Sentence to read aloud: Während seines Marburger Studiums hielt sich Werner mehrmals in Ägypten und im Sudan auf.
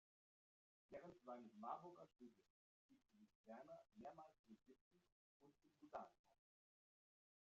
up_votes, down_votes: 0, 3